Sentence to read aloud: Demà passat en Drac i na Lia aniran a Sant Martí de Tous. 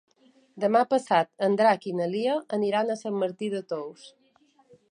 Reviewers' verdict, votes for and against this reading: accepted, 5, 0